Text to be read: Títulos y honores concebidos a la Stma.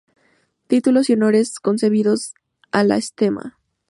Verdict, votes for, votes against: rejected, 0, 2